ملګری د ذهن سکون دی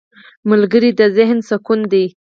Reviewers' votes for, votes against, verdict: 4, 2, accepted